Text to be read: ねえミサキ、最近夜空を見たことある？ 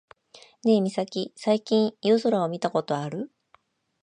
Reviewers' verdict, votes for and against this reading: rejected, 1, 2